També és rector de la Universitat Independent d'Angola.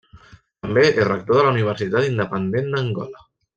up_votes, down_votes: 2, 1